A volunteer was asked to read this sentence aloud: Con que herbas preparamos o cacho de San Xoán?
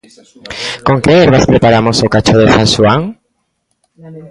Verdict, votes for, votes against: accepted, 2, 1